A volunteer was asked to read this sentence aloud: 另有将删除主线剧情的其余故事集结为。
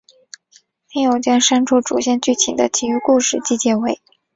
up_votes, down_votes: 9, 0